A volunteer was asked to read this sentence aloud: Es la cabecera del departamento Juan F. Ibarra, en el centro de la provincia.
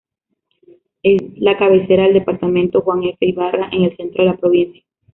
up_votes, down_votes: 1, 2